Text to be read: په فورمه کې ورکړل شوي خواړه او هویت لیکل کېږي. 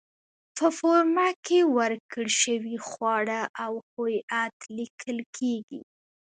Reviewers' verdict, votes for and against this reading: accepted, 2, 0